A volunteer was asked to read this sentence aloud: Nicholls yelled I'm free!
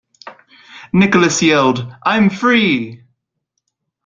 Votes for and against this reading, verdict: 0, 2, rejected